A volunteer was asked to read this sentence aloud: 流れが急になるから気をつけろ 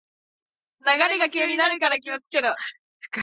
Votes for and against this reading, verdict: 2, 1, accepted